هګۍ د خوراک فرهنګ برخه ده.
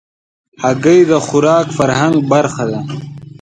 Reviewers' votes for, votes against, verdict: 2, 0, accepted